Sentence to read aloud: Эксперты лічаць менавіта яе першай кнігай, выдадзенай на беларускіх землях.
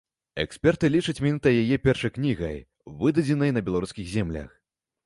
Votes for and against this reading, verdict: 1, 2, rejected